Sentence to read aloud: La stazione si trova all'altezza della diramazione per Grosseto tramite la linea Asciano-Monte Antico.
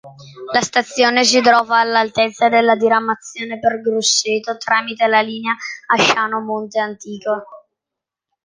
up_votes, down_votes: 2, 0